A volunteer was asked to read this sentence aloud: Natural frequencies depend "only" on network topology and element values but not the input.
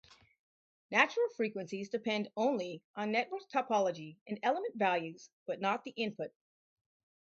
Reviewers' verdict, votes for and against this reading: rejected, 2, 4